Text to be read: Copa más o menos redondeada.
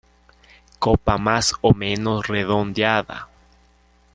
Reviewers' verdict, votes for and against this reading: accepted, 2, 1